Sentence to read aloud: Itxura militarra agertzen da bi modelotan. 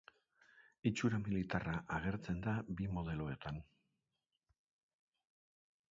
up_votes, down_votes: 0, 2